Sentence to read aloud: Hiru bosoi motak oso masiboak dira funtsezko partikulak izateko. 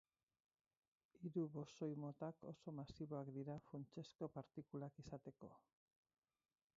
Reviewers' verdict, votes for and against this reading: rejected, 2, 4